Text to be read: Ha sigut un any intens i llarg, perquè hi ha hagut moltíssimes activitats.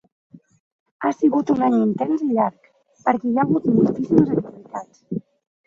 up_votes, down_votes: 0, 2